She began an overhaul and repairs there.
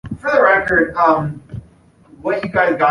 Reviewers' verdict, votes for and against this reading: rejected, 0, 2